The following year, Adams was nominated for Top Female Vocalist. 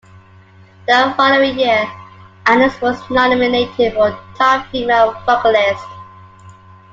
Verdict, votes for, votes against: accepted, 2, 1